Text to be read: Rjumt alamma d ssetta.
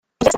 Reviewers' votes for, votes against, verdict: 1, 2, rejected